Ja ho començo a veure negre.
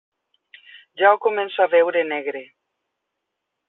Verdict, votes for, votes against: accepted, 3, 0